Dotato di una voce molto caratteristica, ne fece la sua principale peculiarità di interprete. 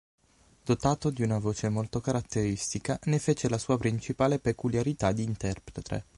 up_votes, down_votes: 3, 6